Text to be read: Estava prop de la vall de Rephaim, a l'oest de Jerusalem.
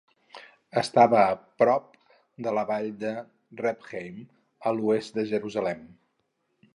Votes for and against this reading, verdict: 2, 2, rejected